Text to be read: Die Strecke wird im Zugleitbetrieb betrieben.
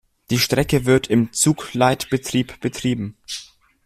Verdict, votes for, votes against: accepted, 2, 0